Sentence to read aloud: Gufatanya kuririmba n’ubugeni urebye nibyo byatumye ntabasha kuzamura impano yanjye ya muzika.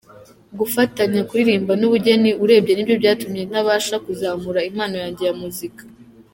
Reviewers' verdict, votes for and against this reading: accepted, 2, 0